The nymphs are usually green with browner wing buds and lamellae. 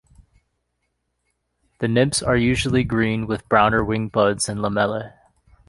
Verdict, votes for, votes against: accepted, 2, 0